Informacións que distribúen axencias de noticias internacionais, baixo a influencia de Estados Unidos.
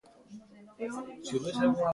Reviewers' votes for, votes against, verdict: 0, 2, rejected